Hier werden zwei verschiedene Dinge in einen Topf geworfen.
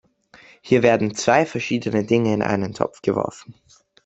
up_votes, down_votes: 2, 0